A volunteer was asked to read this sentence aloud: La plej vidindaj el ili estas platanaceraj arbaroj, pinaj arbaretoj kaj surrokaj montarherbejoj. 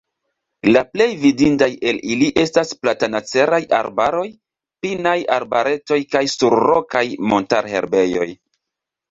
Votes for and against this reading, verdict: 3, 0, accepted